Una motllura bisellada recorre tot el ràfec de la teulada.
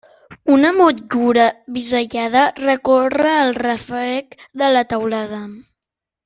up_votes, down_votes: 0, 2